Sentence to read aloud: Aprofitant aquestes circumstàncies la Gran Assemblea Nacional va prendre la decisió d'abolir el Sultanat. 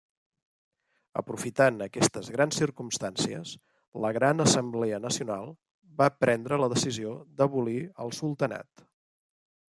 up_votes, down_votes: 1, 2